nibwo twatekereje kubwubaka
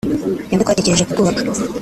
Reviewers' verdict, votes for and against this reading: rejected, 1, 2